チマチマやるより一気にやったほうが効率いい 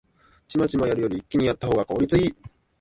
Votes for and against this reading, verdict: 0, 2, rejected